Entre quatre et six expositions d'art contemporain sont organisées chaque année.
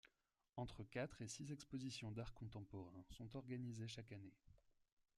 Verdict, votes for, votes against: rejected, 1, 2